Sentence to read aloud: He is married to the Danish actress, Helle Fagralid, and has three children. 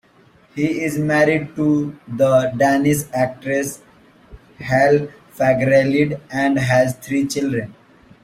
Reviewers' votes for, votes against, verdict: 2, 0, accepted